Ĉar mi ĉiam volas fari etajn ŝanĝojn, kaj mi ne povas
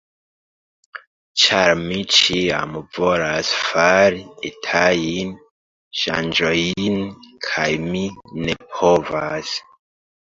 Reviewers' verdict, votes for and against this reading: rejected, 0, 2